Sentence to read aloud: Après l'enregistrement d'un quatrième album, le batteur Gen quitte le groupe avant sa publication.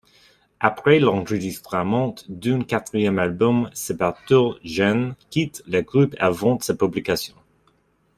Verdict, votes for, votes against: rejected, 0, 2